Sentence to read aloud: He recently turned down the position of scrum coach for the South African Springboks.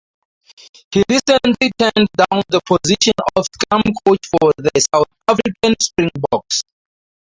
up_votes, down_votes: 0, 2